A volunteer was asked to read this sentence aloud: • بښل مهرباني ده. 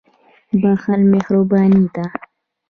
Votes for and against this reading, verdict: 1, 2, rejected